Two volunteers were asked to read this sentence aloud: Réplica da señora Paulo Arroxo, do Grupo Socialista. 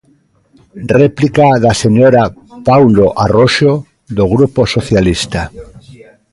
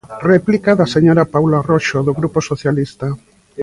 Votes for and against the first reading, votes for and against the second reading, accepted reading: 1, 2, 2, 1, second